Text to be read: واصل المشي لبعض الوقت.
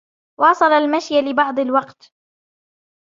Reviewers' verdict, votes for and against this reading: rejected, 1, 2